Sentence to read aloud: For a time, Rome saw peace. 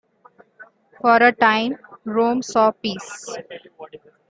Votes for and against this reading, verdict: 2, 1, accepted